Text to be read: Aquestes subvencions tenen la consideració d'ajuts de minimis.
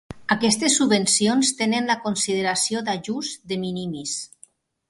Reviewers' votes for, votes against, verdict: 0, 2, rejected